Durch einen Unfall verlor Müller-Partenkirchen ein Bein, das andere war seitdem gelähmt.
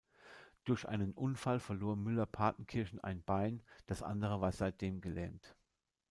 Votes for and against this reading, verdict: 2, 0, accepted